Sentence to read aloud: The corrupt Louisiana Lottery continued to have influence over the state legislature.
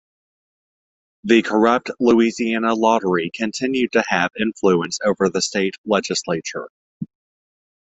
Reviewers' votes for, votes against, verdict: 2, 0, accepted